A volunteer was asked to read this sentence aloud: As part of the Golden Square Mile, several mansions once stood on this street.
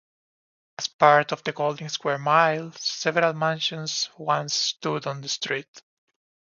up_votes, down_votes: 2, 1